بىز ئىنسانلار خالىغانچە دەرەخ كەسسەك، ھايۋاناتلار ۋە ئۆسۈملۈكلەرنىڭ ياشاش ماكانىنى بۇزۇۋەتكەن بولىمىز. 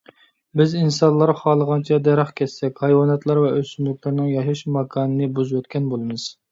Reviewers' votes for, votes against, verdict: 2, 0, accepted